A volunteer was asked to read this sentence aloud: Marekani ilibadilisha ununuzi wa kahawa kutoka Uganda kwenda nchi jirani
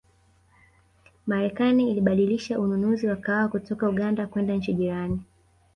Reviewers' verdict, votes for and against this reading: accepted, 2, 0